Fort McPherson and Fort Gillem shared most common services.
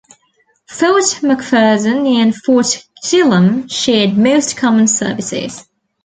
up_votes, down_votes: 2, 1